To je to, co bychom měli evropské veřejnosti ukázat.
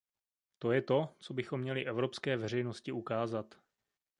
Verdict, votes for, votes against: accepted, 2, 0